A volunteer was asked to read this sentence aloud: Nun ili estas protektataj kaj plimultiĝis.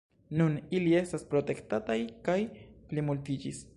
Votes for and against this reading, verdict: 2, 0, accepted